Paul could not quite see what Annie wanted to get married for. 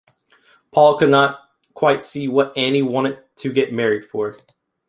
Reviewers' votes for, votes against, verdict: 2, 0, accepted